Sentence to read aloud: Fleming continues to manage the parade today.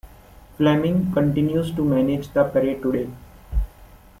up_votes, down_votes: 2, 0